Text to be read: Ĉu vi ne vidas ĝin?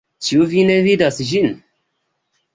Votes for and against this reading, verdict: 2, 0, accepted